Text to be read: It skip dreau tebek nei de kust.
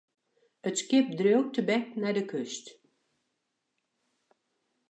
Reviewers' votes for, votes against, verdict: 1, 2, rejected